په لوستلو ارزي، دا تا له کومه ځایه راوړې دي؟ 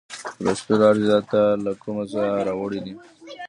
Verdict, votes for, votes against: accepted, 2, 0